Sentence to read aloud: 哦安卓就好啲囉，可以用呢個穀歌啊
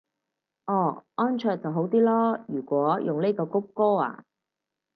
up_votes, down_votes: 0, 4